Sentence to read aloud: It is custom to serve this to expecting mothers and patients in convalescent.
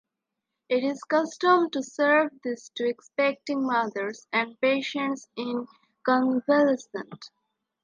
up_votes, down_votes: 1, 2